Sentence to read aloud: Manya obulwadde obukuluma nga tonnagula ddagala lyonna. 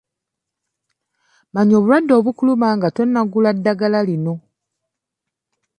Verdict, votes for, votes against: rejected, 1, 2